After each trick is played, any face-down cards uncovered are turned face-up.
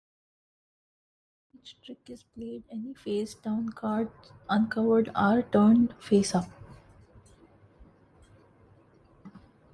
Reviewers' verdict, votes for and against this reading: rejected, 1, 2